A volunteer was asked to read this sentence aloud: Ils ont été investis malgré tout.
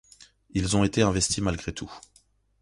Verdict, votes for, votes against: accepted, 2, 0